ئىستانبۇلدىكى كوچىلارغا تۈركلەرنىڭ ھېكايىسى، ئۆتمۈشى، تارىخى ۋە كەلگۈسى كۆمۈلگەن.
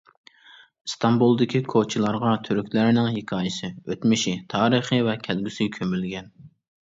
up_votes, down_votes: 2, 0